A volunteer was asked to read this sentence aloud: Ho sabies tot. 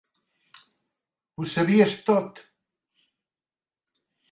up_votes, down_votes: 3, 0